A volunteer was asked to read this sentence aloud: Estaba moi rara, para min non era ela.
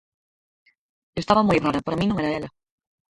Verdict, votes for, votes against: rejected, 0, 4